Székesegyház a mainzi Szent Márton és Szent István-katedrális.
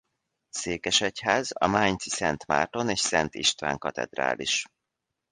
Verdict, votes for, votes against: rejected, 0, 2